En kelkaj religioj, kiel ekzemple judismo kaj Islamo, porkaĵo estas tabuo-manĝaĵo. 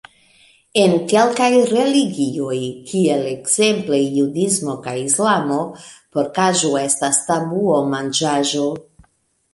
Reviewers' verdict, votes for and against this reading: rejected, 1, 2